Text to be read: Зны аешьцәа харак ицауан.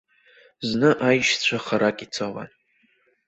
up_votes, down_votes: 1, 2